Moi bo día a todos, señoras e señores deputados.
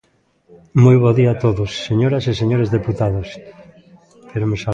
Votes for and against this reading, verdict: 0, 2, rejected